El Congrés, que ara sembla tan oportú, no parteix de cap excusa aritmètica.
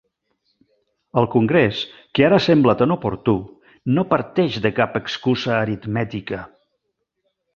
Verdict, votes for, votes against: rejected, 1, 2